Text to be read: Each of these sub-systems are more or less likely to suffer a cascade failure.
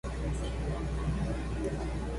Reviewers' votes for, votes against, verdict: 0, 2, rejected